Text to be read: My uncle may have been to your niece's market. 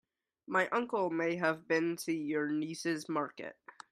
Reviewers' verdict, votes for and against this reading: accepted, 2, 0